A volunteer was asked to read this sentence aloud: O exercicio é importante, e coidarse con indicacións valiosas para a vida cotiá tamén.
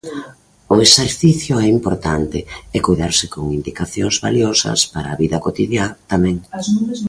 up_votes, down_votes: 0, 2